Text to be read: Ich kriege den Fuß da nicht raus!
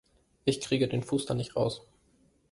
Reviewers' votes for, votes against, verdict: 2, 0, accepted